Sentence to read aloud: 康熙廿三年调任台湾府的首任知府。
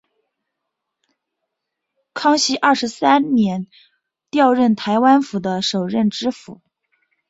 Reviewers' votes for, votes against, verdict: 0, 3, rejected